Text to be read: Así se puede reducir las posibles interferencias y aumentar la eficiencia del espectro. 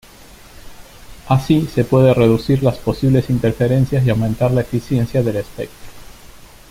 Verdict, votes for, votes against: rejected, 1, 2